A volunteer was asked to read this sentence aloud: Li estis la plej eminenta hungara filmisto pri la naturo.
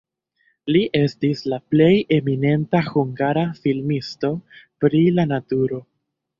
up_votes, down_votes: 0, 2